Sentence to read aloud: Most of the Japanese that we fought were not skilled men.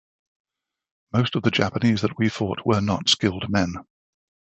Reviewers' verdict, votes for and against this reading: accepted, 2, 0